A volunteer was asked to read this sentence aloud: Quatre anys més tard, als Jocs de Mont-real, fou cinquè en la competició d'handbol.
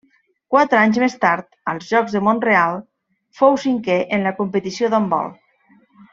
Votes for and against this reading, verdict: 2, 0, accepted